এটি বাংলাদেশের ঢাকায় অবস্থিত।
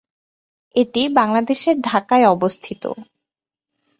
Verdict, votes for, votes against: accepted, 2, 0